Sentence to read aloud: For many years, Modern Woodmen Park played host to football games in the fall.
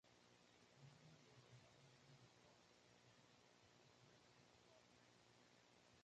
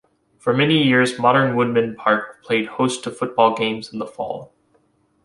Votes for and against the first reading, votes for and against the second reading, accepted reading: 0, 2, 2, 0, second